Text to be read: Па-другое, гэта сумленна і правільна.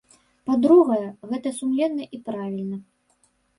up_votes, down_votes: 0, 2